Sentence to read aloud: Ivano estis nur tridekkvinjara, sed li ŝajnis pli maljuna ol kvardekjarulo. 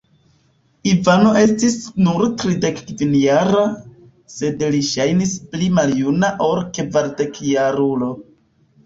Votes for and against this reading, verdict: 2, 0, accepted